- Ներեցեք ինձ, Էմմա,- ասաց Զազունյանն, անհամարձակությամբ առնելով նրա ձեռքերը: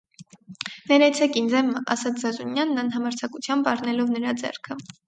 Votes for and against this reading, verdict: 0, 2, rejected